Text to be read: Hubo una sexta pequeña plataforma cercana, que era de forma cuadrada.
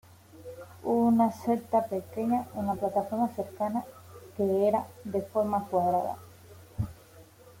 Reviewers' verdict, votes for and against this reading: rejected, 1, 2